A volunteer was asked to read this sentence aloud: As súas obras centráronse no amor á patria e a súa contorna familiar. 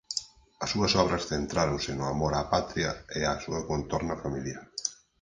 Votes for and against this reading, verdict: 4, 0, accepted